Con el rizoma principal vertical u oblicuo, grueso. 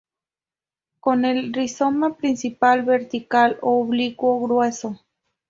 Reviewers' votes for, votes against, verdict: 0, 2, rejected